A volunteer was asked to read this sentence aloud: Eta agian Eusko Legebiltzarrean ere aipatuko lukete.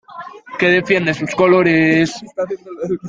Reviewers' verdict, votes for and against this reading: rejected, 0, 2